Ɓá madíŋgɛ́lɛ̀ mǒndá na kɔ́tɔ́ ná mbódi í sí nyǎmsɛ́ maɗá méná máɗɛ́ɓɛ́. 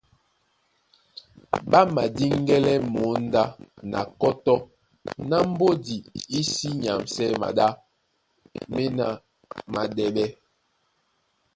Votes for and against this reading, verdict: 2, 0, accepted